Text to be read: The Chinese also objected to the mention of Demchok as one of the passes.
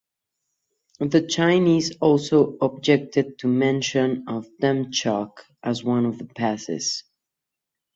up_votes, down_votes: 2, 0